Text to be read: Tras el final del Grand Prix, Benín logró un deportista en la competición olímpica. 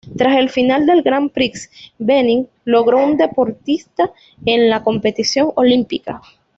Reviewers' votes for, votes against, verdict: 0, 2, rejected